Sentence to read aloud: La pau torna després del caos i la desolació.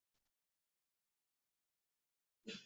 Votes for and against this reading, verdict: 0, 2, rejected